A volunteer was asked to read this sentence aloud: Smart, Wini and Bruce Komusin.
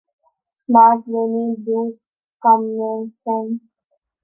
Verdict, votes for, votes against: rejected, 0, 2